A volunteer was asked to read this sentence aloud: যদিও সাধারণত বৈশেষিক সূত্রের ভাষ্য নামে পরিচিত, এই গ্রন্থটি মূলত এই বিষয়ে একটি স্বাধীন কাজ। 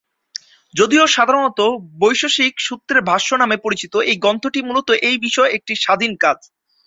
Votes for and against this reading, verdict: 2, 0, accepted